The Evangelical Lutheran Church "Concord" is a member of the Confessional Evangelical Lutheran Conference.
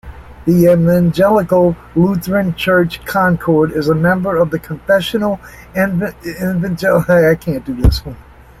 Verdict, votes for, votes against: rejected, 0, 2